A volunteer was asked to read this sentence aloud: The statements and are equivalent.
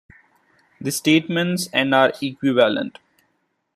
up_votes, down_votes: 0, 2